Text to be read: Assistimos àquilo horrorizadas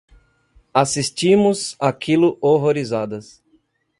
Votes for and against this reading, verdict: 2, 0, accepted